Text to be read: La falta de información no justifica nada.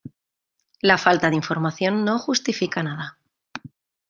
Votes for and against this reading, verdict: 2, 1, accepted